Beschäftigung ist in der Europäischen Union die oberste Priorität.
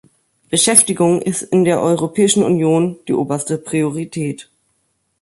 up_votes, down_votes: 3, 1